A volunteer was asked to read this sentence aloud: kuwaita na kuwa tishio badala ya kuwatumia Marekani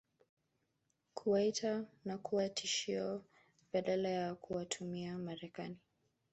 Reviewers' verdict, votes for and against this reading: rejected, 2, 3